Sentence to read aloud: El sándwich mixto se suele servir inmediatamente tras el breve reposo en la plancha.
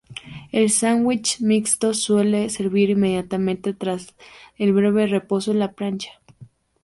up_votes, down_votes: 0, 2